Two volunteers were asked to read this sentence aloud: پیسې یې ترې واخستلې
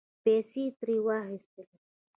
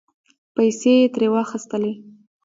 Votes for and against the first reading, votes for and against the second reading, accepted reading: 1, 2, 2, 1, second